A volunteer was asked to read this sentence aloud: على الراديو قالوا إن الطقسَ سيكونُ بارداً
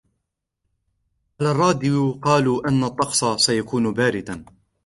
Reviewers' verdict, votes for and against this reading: rejected, 1, 2